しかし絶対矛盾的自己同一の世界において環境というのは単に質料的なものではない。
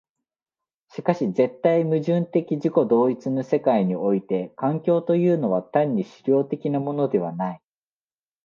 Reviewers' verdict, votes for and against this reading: accepted, 2, 0